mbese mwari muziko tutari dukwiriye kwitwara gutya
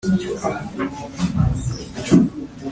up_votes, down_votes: 0, 2